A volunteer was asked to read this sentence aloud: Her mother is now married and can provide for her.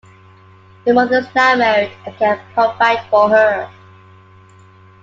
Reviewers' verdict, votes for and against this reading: accepted, 2, 1